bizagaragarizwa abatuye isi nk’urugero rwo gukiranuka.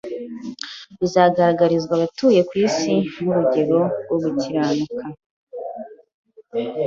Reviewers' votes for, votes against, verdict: 1, 2, rejected